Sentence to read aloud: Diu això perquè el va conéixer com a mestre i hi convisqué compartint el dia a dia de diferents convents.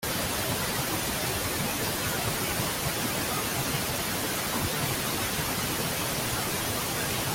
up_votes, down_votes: 0, 2